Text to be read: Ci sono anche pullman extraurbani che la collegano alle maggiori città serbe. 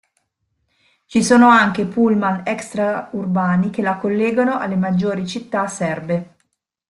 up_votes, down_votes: 0, 2